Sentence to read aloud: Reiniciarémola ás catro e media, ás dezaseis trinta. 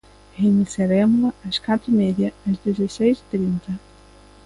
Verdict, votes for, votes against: rejected, 0, 2